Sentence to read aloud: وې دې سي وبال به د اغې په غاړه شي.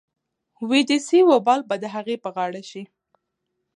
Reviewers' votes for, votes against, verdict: 2, 0, accepted